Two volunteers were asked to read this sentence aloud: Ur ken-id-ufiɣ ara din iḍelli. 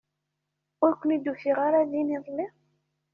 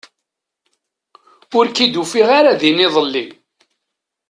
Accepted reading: second